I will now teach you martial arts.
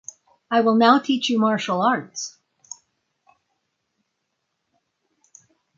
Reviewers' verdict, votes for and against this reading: accepted, 6, 0